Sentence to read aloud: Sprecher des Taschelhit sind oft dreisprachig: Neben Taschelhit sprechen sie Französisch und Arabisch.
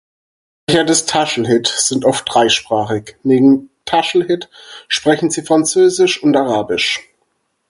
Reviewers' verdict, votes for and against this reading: rejected, 0, 4